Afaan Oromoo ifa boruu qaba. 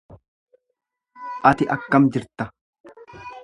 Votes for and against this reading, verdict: 1, 2, rejected